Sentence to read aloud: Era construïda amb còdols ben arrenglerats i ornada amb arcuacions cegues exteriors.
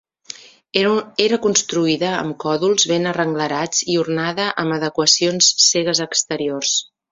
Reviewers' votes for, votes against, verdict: 1, 2, rejected